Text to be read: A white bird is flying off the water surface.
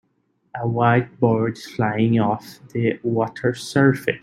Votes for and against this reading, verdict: 2, 1, accepted